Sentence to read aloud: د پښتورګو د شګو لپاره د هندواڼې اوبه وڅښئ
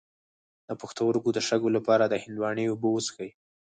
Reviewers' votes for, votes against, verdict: 4, 0, accepted